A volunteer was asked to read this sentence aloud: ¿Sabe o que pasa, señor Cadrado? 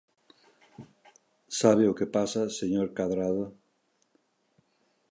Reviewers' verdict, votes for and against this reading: accepted, 2, 0